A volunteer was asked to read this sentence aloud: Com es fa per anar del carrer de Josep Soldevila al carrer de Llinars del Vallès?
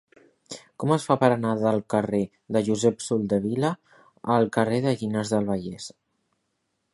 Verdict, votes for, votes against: accepted, 6, 2